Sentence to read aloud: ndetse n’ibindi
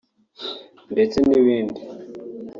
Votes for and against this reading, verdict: 3, 0, accepted